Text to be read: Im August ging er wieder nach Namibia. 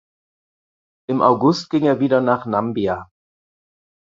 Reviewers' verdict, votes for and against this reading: rejected, 0, 4